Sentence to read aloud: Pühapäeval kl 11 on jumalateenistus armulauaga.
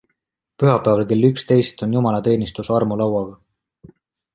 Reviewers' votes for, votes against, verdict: 0, 2, rejected